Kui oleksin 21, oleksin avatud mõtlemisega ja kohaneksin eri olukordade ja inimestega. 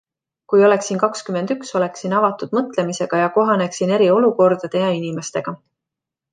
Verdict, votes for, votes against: rejected, 0, 2